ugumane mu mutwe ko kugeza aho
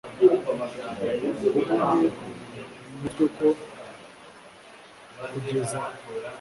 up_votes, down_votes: 1, 2